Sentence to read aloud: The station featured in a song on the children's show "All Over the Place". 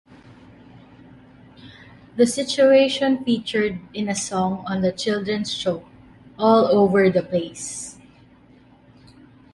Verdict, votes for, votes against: rejected, 1, 2